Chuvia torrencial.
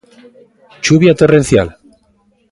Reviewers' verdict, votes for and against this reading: rejected, 1, 2